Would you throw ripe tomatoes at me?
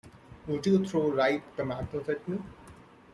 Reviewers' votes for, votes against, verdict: 2, 0, accepted